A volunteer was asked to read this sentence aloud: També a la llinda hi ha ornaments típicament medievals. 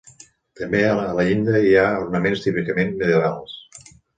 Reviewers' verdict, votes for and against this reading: rejected, 0, 2